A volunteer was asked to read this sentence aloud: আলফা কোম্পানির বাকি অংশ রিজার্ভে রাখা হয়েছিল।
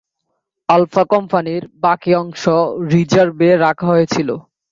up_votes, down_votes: 2, 0